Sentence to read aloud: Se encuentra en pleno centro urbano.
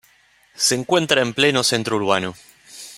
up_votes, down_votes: 2, 0